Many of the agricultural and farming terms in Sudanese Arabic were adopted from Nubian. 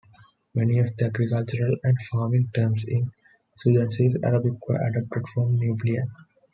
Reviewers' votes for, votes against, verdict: 0, 2, rejected